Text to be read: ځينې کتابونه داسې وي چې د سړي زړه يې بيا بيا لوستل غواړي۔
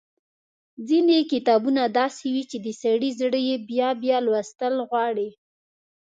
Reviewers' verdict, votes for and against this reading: accepted, 2, 0